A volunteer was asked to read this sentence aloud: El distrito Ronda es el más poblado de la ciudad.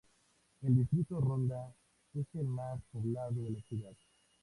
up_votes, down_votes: 2, 0